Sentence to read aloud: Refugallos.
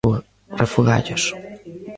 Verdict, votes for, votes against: rejected, 0, 2